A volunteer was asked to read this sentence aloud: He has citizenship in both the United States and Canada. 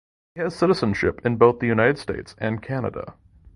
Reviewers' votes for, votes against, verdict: 3, 0, accepted